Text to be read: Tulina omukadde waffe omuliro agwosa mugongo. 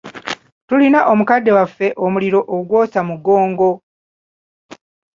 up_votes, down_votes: 1, 2